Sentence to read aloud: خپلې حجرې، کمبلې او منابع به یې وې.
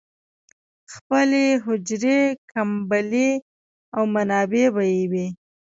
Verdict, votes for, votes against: accepted, 2, 0